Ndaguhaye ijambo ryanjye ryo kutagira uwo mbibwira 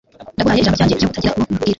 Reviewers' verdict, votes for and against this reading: rejected, 1, 2